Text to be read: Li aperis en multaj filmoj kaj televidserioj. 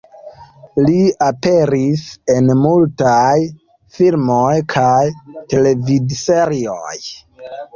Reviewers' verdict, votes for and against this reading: rejected, 1, 2